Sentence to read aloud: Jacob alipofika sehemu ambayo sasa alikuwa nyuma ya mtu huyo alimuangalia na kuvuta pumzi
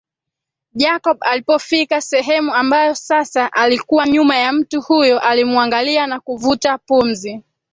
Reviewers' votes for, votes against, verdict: 2, 1, accepted